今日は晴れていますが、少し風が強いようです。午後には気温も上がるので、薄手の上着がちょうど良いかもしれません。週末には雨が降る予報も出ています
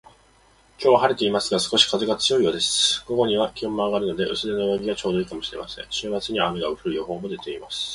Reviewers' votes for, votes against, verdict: 1, 2, rejected